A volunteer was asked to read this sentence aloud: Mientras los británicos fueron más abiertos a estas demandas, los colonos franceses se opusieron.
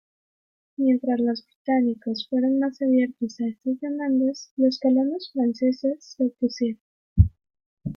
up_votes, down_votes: 1, 2